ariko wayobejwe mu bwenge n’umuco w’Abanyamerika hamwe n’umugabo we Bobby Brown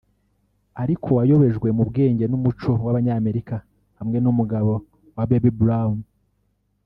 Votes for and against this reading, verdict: 0, 2, rejected